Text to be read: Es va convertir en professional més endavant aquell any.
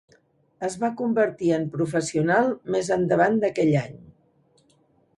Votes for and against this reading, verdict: 1, 2, rejected